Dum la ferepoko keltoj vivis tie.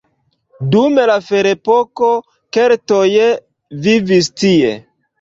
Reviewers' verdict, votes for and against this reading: accepted, 2, 0